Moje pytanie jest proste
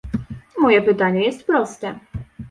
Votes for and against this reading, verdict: 2, 0, accepted